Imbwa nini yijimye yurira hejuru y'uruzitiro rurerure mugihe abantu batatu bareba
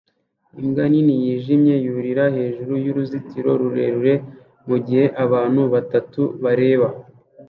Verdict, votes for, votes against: rejected, 0, 2